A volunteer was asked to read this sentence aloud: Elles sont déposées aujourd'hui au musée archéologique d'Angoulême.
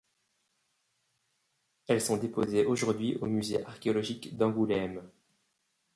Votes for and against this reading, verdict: 2, 0, accepted